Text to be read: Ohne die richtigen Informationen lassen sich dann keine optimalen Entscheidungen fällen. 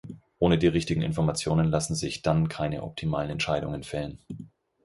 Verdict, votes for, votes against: accepted, 4, 0